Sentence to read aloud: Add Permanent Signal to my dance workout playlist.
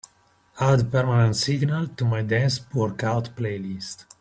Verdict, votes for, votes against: accepted, 2, 0